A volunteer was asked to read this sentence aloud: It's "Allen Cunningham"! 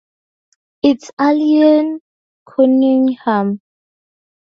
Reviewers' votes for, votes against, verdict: 0, 2, rejected